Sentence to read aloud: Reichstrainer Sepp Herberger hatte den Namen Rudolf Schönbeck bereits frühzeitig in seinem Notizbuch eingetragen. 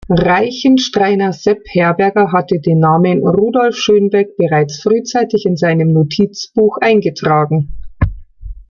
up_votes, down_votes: 0, 2